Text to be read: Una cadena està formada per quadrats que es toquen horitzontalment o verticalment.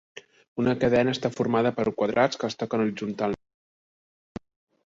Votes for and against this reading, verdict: 1, 2, rejected